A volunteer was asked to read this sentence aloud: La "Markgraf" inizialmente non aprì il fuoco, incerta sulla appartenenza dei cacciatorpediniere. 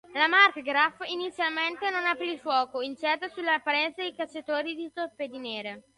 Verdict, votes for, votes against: rejected, 0, 2